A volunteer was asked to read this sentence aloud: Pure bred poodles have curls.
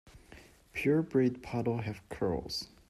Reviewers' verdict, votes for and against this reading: rejected, 0, 2